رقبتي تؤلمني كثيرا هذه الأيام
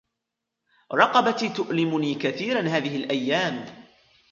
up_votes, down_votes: 2, 1